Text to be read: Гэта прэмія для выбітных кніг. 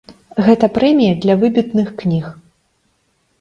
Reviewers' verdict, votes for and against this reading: accepted, 2, 1